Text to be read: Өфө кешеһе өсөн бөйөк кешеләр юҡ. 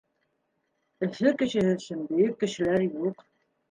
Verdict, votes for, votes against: rejected, 0, 2